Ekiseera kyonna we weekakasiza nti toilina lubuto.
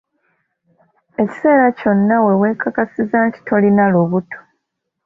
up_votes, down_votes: 1, 2